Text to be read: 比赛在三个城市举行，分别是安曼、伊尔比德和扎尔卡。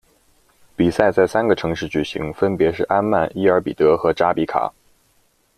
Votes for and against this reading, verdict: 0, 2, rejected